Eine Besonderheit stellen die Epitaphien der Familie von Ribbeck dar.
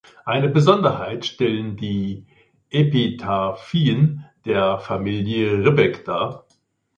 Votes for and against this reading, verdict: 1, 2, rejected